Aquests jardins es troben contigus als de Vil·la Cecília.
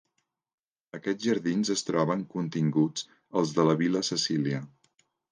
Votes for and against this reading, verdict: 1, 2, rejected